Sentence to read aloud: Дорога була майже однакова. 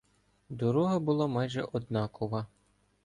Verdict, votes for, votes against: accepted, 2, 0